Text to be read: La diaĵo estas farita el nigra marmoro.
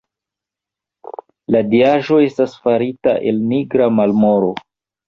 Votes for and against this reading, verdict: 1, 2, rejected